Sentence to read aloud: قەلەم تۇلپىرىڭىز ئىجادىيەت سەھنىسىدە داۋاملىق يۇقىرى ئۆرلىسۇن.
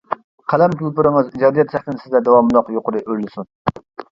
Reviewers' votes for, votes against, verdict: 1, 2, rejected